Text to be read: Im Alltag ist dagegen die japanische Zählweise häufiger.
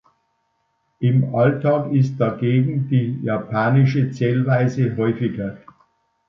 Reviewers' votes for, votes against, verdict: 2, 0, accepted